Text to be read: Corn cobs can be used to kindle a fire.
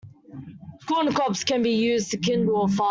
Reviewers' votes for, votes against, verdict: 0, 2, rejected